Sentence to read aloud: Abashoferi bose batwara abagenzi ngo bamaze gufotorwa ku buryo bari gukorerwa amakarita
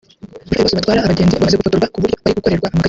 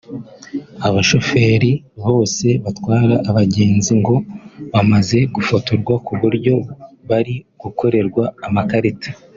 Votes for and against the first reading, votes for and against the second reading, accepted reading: 1, 2, 3, 0, second